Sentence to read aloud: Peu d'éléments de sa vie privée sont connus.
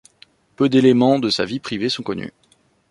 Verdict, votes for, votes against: accepted, 2, 0